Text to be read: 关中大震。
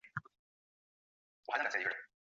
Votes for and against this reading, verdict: 1, 3, rejected